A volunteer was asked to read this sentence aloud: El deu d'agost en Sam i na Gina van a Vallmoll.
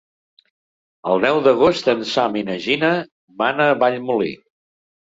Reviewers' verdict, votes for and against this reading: rejected, 0, 2